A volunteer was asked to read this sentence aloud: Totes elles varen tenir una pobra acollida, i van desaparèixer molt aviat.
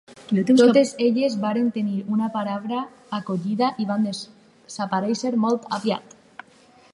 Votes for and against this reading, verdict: 2, 4, rejected